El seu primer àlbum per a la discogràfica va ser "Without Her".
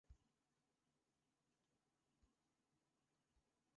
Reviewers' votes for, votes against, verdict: 0, 2, rejected